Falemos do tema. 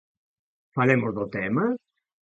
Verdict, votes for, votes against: accepted, 2, 0